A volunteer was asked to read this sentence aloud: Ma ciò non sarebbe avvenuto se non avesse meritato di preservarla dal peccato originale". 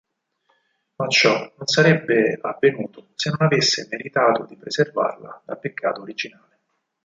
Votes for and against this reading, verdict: 4, 6, rejected